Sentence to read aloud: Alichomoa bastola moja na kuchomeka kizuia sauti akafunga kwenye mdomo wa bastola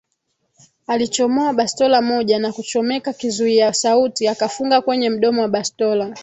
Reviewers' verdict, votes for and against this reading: rejected, 1, 2